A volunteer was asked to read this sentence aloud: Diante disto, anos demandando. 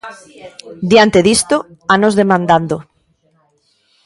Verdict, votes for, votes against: rejected, 0, 2